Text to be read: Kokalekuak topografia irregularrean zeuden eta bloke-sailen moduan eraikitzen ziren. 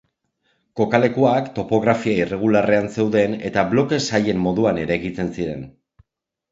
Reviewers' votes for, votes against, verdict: 2, 0, accepted